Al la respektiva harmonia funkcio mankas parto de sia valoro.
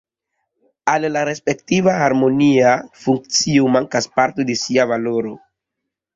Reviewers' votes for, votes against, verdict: 0, 2, rejected